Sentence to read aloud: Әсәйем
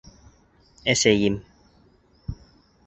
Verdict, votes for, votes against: accepted, 2, 0